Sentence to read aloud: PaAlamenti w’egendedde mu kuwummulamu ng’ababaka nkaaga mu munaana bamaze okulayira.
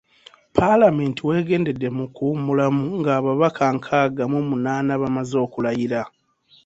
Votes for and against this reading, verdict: 2, 0, accepted